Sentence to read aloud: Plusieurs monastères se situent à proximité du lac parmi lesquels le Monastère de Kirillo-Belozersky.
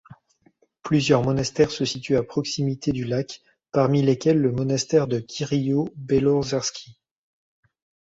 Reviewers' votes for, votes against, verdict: 2, 0, accepted